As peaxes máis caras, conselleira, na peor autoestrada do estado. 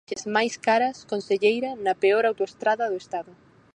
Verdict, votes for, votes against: rejected, 2, 4